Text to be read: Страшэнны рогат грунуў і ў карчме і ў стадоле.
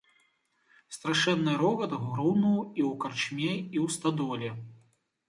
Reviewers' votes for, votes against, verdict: 2, 0, accepted